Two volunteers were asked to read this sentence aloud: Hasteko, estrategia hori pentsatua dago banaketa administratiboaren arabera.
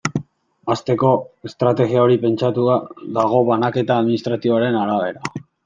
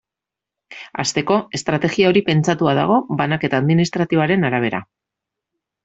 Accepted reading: second